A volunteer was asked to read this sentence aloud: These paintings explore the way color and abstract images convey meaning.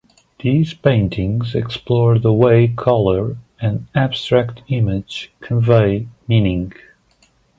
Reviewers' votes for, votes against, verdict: 0, 2, rejected